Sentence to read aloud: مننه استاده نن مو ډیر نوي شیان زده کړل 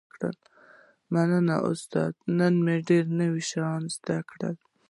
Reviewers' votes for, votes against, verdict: 2, 0, accepted